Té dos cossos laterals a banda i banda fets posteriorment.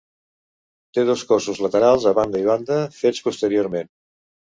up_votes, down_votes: 2, 0